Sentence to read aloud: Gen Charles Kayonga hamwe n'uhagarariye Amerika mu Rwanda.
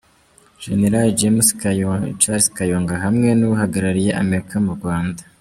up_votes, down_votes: 1, 2